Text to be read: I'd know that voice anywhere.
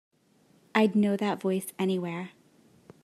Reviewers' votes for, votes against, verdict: 3, 0, accepted